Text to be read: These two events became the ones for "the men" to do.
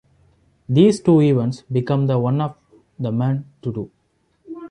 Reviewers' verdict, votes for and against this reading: rejected, 1, 2